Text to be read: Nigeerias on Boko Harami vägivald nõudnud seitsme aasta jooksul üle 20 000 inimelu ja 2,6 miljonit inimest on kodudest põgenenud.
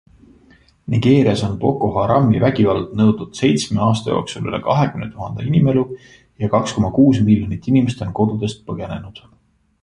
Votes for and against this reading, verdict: 0, 2, rejected